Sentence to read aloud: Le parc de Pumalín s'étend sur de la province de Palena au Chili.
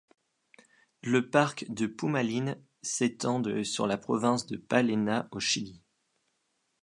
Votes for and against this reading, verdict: 1, 2, rejected